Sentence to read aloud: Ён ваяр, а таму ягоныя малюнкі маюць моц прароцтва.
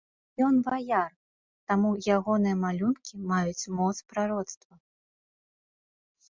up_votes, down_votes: 0, 3